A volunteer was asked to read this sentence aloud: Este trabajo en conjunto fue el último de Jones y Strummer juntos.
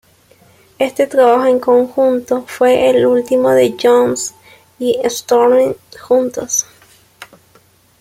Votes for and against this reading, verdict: 0, 2, rejected